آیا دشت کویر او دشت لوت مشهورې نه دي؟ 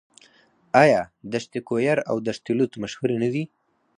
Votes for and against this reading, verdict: 4, 0, accepted